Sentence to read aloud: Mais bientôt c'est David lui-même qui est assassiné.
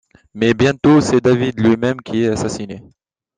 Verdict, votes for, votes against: accepted, 2, 0